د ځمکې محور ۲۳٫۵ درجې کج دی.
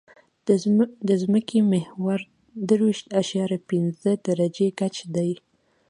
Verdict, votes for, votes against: rejected, 0, 2